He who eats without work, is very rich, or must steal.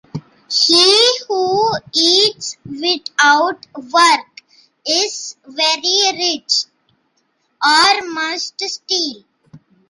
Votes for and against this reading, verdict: 2, 0, accepted